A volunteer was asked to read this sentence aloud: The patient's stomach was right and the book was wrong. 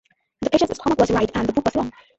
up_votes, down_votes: 1, 2